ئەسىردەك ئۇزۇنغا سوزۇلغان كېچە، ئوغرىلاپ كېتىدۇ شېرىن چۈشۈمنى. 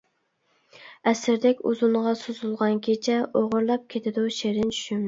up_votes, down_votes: 1, 2